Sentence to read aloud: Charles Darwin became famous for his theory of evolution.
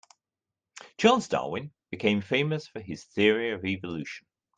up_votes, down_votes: 2, 0